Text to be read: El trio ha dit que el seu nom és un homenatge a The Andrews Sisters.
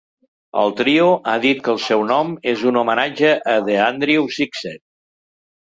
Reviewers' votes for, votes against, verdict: 0, 2, rejected